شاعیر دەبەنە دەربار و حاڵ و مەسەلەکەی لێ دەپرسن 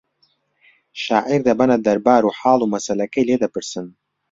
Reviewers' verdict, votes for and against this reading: accepted, 2, 0